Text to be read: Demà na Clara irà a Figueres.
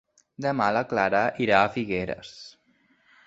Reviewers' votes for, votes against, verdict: 0, 2, rejected